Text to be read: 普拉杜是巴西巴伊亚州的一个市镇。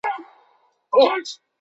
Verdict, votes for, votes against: rejected, 0, 2